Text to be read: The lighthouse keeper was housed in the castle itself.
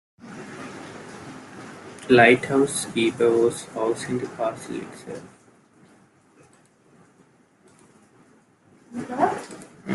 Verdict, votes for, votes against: rejected, 0, 2